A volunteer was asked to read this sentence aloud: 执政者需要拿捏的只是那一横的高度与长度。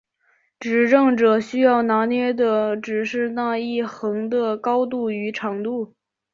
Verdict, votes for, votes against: accepted, 8, 0